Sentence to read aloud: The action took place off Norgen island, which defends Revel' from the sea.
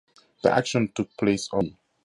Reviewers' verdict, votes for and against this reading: rejected, 0, 2